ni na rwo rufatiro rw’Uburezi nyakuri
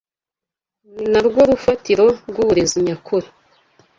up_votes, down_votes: 2, 0